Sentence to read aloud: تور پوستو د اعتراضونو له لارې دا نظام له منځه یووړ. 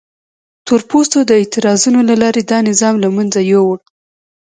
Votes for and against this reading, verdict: 1, 2, rejected